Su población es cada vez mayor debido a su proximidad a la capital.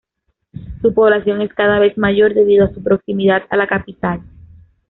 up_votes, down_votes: 2, 0